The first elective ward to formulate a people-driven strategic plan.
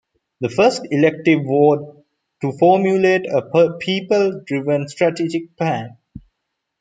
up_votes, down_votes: 1, 2